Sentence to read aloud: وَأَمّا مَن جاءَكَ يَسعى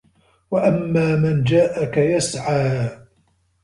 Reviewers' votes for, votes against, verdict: 3, 0, accepted